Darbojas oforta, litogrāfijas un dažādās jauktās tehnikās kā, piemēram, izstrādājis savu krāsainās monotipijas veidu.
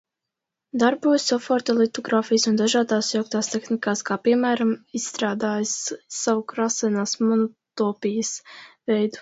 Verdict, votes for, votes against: rejected, 1, 2